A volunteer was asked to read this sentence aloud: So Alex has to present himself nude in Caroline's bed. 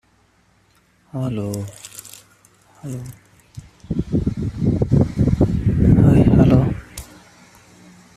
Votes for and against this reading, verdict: 0, 2, rejected